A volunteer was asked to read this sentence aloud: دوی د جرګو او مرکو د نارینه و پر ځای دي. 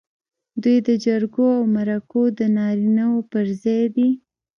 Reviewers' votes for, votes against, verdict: 1, 2, rejected